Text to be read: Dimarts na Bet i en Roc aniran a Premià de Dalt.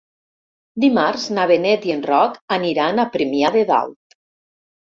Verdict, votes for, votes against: rejected, 1, 2